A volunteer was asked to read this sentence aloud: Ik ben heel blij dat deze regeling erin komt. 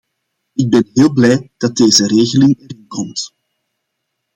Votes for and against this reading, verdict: 0, 2, rejected